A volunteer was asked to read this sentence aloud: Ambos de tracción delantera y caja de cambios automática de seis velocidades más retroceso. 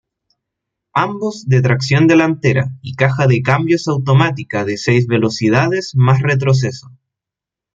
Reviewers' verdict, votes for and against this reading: accepted, 2, 0